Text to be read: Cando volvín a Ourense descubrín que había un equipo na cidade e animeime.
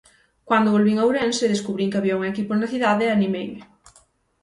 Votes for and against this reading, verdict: 3, 6, rejected